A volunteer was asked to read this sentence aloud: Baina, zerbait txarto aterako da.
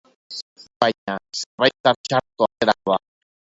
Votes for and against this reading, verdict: 0, 2, rejected